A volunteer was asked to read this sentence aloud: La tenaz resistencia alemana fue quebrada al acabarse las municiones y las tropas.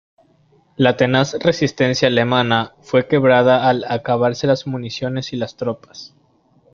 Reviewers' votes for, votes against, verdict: 2, 0, accepted